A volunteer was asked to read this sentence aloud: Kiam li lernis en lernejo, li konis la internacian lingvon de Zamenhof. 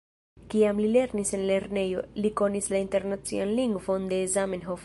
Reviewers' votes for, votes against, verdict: 1, 2, rejected